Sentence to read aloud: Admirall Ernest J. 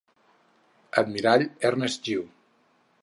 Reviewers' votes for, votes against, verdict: 2, 4, rejected